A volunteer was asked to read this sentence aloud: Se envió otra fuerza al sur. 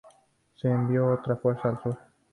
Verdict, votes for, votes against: accepted, 4, 0